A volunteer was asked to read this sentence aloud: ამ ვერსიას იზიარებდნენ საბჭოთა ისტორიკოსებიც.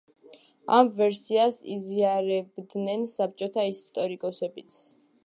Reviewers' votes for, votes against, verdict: 2, 3, rejected